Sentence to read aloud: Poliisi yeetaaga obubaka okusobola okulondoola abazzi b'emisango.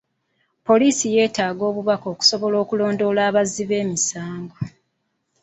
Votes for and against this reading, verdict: 2, 1, accepted